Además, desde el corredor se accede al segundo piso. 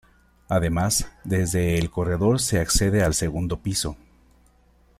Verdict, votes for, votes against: accepted, 2, 0